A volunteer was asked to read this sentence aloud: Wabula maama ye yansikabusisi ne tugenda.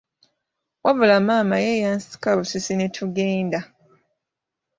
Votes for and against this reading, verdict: 2, 0, accepted